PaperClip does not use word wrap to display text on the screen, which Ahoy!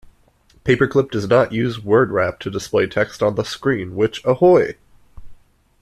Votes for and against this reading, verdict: 2, 1, accepted